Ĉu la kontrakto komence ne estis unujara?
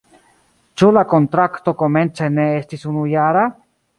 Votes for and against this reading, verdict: 2, 0, accepted